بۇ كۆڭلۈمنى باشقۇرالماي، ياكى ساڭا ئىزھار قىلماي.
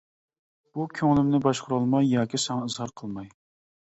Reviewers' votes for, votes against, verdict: 2, 0, accepted